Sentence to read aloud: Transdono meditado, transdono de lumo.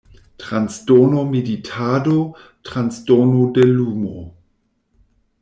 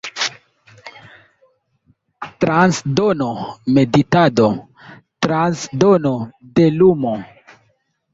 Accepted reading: second